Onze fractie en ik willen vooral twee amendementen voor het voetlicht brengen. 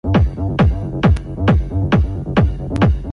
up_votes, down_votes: 0, 2